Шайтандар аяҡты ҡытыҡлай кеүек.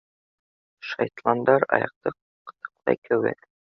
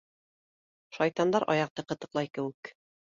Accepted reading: second